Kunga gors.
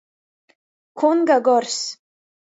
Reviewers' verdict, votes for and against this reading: rejected, 0, 2